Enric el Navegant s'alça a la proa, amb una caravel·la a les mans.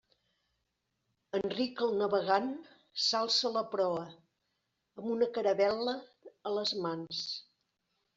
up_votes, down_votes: 2, 0